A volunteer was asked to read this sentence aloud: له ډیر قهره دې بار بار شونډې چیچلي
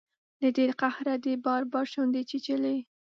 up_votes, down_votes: 2, 0